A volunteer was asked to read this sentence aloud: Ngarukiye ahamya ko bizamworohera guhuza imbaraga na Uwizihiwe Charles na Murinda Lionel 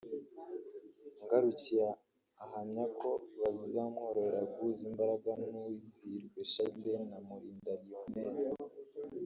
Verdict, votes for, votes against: rejected, 1, 2